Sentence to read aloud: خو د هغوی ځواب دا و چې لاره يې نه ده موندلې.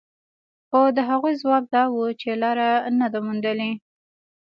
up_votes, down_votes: 3, 0